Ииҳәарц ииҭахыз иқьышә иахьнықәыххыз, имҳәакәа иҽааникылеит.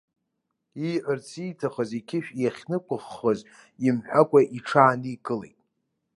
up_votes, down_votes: 1, 2